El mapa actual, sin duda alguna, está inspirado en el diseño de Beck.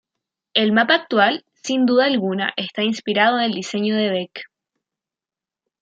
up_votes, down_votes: 2, 0